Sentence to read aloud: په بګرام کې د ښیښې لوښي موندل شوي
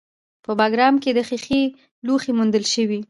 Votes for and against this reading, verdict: 0, 2, rejected